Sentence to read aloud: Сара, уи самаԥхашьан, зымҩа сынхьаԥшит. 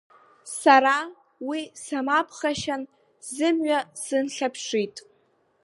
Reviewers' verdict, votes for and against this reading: rejected, 0, 2